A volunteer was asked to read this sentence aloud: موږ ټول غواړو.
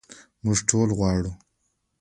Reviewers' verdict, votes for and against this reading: accepted, 2, 0